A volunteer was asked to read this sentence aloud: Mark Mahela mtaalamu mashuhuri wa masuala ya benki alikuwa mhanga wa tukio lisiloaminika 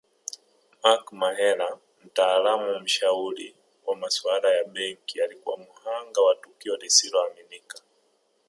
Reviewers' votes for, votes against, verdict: 1, 2, rejected